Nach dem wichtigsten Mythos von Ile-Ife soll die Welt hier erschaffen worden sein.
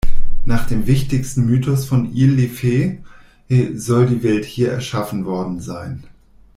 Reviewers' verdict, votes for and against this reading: rejected, 1, 2